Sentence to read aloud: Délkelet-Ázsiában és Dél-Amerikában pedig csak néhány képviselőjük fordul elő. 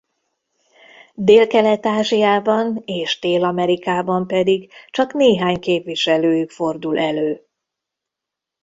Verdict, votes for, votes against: accepted, 2, 0